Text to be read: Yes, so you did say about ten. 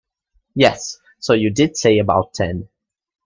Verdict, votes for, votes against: accepted, 2, 1